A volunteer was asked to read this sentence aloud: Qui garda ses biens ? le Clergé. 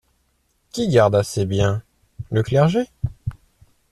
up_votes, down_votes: 1, 2